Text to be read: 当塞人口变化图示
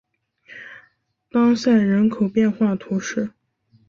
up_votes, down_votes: 3, 0